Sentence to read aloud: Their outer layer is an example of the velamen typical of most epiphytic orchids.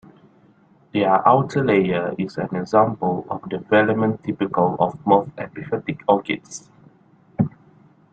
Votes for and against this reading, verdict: 2, 0, accepted